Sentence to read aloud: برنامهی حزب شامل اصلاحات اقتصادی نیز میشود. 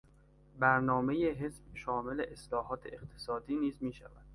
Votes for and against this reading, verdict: 2, 0, accepted